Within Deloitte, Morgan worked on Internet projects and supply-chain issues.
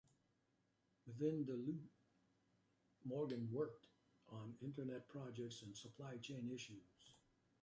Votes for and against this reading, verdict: 2, 1, accepted